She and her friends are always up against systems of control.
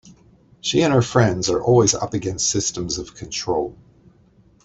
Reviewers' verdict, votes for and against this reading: accepted, 3, 0